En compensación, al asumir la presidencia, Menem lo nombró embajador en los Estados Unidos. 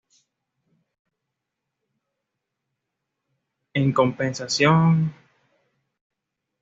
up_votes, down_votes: 1, 2